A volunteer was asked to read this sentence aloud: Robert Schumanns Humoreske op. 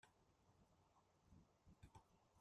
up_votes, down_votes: 0, 2